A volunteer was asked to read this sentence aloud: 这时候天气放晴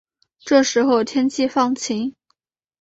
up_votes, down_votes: 2, 1